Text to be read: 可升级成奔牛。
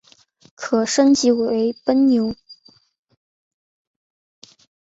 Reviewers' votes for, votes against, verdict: 3, 2, accepted